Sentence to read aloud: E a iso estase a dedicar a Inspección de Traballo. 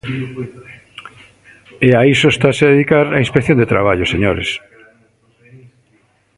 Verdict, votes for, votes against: rejected, 0, 2